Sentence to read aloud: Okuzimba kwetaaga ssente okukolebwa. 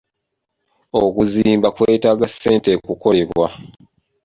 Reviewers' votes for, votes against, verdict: 0, 2, rejected